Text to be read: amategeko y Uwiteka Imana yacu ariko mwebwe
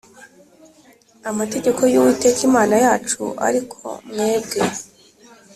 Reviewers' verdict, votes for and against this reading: accepted, 3, 0